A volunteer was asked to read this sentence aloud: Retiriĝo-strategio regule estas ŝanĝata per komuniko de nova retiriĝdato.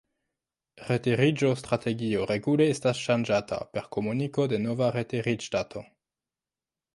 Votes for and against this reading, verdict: 2, 1, accepted